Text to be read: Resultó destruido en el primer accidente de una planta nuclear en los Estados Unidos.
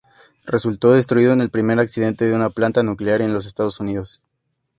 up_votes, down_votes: 2, 0